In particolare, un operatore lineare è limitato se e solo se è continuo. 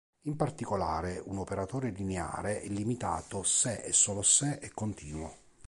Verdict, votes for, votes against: accepted, 2, 0